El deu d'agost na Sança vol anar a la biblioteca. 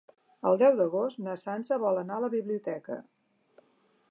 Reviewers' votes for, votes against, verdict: 2, 0, accepted